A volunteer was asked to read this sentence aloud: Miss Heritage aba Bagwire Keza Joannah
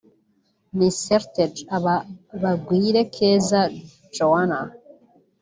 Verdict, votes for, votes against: accepted, 2, 1